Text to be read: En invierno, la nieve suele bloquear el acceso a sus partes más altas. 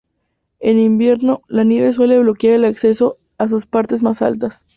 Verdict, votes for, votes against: accepted, 10, 2